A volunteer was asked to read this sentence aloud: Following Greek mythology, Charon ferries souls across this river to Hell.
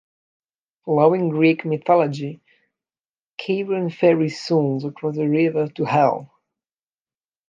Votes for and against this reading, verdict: 0, 2, rejected